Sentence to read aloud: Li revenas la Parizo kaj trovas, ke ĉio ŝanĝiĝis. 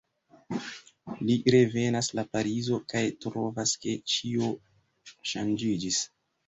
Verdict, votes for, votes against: accepted, 2, 0